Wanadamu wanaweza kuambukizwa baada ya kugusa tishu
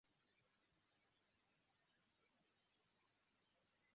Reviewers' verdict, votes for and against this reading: rejected, 1, 2